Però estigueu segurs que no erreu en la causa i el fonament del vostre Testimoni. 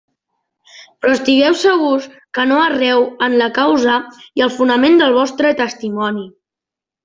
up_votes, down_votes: 2, 0